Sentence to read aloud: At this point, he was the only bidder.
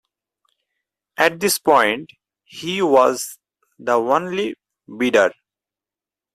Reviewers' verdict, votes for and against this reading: rejected, 2, 4